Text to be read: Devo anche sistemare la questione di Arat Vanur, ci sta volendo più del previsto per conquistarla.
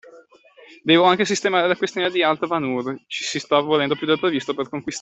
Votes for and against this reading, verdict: 0, 2, rejected